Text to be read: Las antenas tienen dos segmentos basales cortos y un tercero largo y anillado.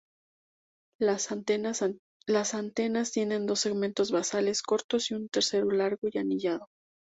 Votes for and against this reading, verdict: 0, 2, rejected